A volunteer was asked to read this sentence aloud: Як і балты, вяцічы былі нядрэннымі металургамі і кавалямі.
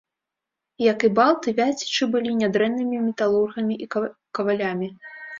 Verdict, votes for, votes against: rejected, 1, 2